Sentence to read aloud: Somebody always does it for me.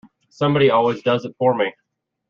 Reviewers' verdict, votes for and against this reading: accepted, 2, 0